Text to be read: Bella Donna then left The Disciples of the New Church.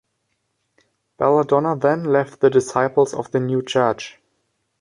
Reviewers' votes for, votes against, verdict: 2, 0, accepted